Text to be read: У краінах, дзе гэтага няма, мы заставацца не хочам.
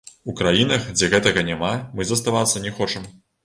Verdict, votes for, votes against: rejected, 1, 2